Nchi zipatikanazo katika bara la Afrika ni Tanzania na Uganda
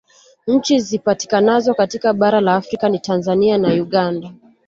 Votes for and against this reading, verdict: 2, 0, accepted